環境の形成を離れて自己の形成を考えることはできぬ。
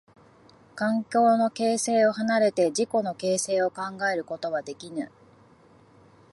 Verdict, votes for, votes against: accepted, 3, 0